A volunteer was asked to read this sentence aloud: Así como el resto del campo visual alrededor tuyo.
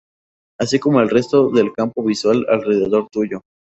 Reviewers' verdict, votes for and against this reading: accepted, 4, 0